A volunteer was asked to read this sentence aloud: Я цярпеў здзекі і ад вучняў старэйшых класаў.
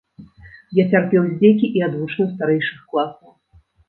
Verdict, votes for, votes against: rejected, 1, 2